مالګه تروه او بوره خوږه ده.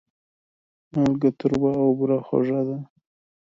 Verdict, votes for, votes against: accepted, 2, 0